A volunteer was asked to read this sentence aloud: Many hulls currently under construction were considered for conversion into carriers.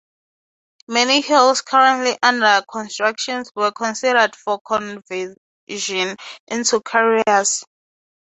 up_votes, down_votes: 0, 3